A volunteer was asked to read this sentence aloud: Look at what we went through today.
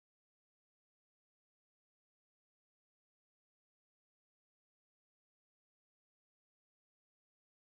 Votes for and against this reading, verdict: 0, 2, rejected